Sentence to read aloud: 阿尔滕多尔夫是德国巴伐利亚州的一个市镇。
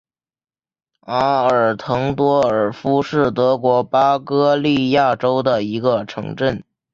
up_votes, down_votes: 5, 1